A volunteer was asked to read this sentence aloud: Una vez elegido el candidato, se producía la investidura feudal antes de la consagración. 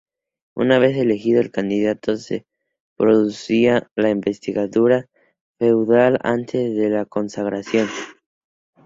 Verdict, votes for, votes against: rejected, 0, 2